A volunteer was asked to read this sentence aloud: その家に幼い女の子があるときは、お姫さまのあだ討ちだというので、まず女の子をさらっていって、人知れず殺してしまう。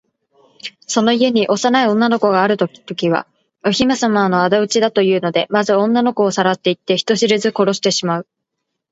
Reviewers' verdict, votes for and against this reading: accepted, 3, 1